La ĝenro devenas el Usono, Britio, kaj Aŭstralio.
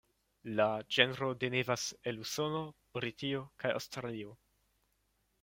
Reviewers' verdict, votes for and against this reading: rejected, 1, 2